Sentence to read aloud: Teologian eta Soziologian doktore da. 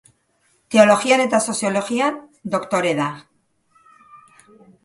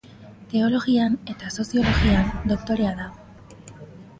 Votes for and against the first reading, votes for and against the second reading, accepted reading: 2, 0, 1, 2, first